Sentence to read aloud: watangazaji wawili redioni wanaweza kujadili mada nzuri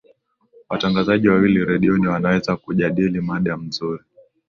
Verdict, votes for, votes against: accepted, 6, 0